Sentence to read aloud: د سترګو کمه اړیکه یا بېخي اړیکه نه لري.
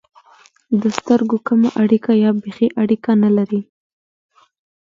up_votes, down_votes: 1, 2